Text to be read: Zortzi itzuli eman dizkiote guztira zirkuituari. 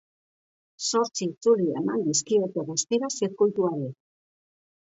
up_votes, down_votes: 2, 0